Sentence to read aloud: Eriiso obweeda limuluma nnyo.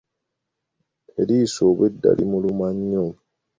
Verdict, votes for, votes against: accepted, 2, 0